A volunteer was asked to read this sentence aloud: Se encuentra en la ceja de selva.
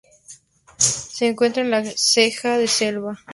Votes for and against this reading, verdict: 2, 0, accepted